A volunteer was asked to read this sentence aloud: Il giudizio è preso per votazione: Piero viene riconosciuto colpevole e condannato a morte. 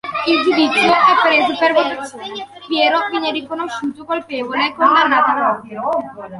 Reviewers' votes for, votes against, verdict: 0, 2, rejected